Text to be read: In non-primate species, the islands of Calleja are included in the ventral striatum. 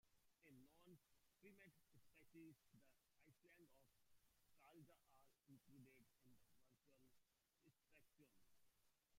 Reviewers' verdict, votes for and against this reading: rejected, 0, 2